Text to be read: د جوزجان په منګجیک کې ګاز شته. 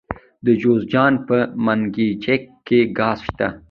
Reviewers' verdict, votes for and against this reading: accepted, 2, 0